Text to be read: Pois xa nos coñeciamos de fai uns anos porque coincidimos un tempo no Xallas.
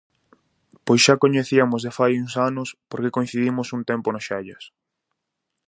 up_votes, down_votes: 0, 4